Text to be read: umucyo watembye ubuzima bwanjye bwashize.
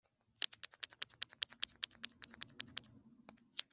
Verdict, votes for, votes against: rejected, 0, 2